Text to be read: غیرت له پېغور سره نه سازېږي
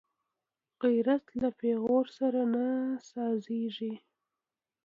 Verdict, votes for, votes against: accepted, 2, 0